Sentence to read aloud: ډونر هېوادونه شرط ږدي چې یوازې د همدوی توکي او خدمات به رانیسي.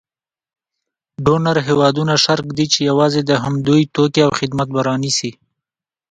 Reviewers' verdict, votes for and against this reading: accepted, 2, 1